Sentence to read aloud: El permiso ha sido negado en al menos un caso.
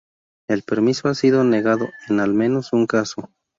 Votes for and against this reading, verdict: 0, 2, rejected